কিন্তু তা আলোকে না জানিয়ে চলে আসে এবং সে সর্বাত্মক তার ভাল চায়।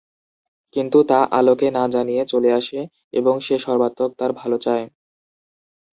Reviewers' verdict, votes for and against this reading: accepted, 3, 1